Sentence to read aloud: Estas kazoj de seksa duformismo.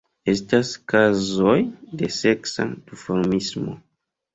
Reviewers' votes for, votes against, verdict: 1, 2, rejected